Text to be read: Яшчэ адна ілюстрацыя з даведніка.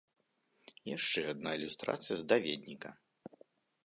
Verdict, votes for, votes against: accepted, 2, 0